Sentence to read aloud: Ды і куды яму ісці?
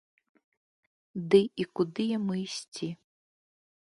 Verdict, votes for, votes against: accepted, 2, 0